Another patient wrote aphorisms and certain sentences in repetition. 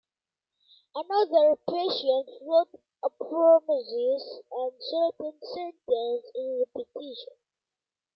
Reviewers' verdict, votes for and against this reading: rejected, 0, 2